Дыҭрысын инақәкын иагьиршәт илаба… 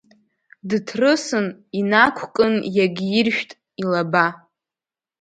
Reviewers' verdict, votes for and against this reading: accepted, 2, 1